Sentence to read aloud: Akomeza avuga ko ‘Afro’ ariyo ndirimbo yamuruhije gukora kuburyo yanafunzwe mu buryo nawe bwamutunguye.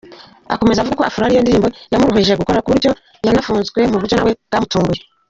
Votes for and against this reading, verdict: 0, 2, rejected